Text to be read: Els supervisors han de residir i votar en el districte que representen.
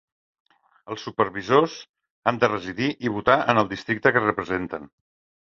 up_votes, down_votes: 2, 0